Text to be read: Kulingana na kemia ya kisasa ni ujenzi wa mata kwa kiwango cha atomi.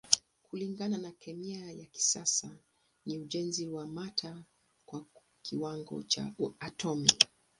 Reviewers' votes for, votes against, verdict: 2, 0, accepted